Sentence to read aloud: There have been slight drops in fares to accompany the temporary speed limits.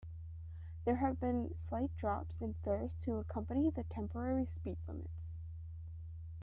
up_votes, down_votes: 2, 0